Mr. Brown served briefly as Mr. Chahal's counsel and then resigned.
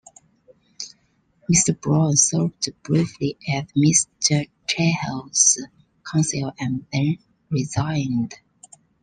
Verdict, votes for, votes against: rejected, 1, 2